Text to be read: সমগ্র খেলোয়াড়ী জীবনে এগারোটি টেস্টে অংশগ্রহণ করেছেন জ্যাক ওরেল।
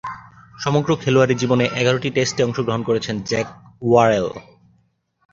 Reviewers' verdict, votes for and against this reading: accepted, 2, 0